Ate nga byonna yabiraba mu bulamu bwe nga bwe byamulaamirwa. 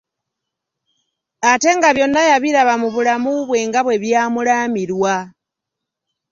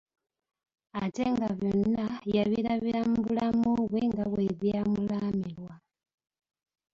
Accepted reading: first